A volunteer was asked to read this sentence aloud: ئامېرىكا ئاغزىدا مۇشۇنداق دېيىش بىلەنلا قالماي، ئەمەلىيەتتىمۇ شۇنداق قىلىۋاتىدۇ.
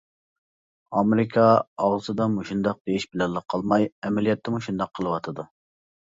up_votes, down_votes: 2, 0